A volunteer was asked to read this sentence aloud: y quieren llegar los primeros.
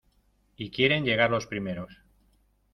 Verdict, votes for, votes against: accepted, 2, 0